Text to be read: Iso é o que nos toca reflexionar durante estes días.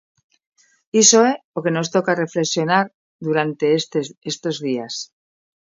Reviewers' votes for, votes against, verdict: 1, 2, rejected